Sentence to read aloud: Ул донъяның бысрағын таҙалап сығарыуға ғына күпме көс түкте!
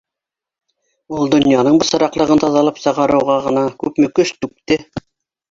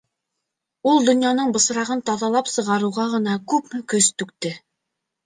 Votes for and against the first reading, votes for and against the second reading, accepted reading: 0, 3, 2, 0, second